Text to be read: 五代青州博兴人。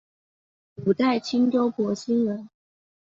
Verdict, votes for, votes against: accepted, 2, 0